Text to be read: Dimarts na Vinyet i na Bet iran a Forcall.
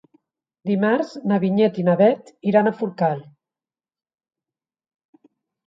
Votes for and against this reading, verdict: 3, 0, accepted